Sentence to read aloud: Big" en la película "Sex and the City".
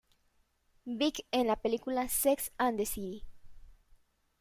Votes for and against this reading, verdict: 2, 0, accepted